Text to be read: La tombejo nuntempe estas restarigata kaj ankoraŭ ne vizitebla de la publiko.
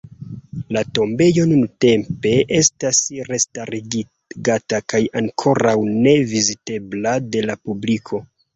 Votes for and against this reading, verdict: 0, 2, rejected